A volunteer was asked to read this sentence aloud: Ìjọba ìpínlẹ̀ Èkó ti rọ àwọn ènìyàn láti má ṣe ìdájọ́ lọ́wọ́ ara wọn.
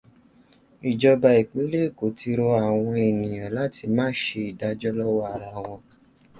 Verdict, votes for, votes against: accepted, 3, 0